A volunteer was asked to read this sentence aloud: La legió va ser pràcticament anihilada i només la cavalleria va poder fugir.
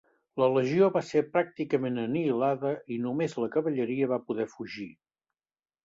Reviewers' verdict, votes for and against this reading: accepted, 2, 0